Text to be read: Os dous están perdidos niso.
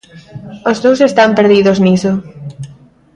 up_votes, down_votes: 2, 0